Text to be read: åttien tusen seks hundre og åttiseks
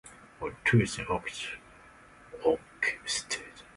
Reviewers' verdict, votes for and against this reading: rejected, 0, 2